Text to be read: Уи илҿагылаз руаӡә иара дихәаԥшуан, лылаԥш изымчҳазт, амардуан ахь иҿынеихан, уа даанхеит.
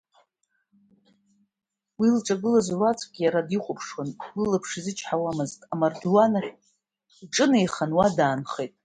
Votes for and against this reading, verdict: 2, 0, accepted